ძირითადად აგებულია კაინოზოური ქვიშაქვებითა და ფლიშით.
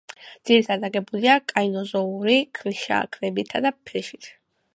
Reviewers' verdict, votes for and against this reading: accepted, 2, 0